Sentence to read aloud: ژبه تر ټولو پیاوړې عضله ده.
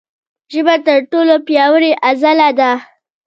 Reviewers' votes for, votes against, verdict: 0, 2, rejected